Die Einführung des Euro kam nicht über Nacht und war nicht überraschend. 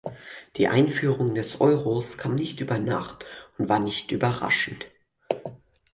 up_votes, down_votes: 0, 4